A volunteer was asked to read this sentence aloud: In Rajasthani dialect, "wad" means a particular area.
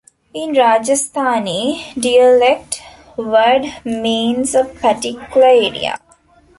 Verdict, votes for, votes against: rejected, 0, 2